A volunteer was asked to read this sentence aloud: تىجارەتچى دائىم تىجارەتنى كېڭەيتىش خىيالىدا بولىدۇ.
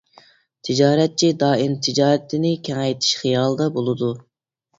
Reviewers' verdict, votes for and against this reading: rejected, 0, 2